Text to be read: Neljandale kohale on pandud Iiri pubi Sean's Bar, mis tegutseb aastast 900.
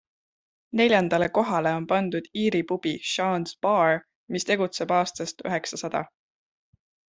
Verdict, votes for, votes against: rejected, 0, 2